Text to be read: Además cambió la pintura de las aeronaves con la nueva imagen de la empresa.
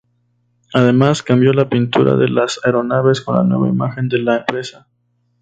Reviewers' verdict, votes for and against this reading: rejected, 0, 2